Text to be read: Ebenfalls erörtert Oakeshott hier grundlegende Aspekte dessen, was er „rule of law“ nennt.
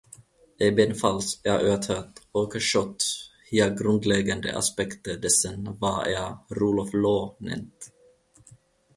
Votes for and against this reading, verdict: 0, 3, rejected